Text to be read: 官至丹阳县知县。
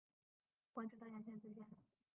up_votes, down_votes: 0, 4